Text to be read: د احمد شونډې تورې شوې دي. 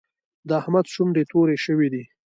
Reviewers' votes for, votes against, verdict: 2, 1, accepted